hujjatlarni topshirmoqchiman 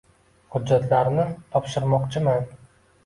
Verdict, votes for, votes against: accepted, 2, 0